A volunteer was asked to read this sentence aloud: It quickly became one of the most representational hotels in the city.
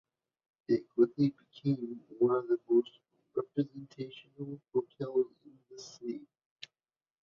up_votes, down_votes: 3, 2